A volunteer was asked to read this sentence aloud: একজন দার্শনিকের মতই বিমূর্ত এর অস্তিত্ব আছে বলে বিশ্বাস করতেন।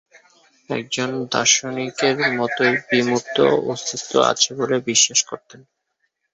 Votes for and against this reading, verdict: 2, 1, accepted